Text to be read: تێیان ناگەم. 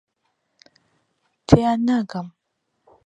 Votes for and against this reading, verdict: 2, 0, accepted